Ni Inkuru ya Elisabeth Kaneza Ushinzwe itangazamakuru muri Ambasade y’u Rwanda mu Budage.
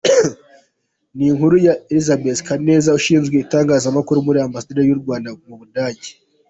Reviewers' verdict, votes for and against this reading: accepted, 2, 0